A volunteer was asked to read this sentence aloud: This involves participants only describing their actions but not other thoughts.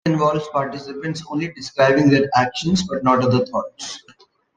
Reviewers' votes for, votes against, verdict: 2, 1, accepted